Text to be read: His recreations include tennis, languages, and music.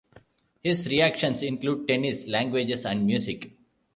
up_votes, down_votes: 1, 2